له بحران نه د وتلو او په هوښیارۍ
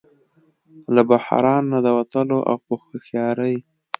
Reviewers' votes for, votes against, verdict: 2, 0, accepted